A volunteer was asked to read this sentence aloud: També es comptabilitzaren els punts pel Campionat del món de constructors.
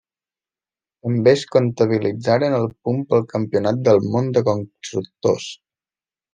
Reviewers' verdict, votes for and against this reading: rejected, 0, 2